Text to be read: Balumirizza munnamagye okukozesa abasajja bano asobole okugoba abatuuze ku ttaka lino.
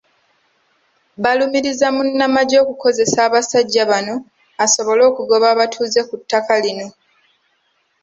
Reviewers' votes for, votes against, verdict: 2, 1, accepted